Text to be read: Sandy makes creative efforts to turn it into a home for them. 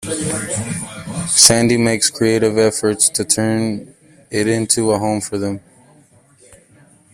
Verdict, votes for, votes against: rejected, 1, 2